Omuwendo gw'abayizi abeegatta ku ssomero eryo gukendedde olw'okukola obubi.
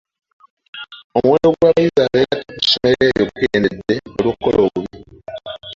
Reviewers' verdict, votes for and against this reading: accepted, 2, 1